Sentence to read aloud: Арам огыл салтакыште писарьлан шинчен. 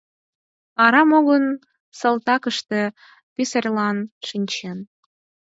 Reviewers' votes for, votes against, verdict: 4, 0, accepted